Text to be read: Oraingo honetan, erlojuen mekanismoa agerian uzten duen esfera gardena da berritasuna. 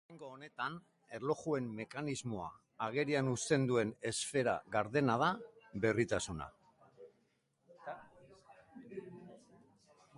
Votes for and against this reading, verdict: 3, 3, rejected